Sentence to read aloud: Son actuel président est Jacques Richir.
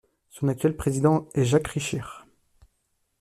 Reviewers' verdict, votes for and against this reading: accepted, 2, 0